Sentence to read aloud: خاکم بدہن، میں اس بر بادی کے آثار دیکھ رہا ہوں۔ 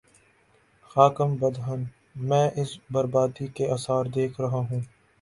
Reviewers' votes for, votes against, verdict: 8, 1, accepted